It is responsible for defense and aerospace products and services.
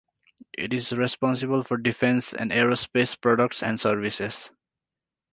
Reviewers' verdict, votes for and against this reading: rejected, 0, 2